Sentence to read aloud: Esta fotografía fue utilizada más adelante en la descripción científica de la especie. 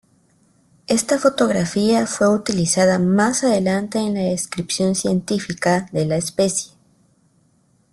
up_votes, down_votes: 2, 0